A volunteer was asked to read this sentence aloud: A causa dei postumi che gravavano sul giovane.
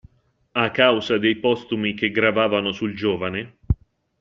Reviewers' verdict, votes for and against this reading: accepted, 2, 0